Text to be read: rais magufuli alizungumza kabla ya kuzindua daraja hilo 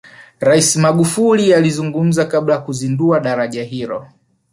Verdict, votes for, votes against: accepted, 4, 0